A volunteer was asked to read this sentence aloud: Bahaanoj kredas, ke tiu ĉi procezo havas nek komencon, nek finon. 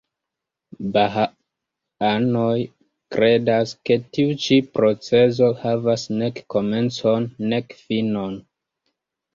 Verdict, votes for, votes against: accepted, 2, 0